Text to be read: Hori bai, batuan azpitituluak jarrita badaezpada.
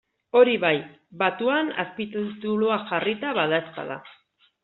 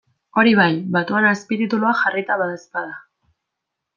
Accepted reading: second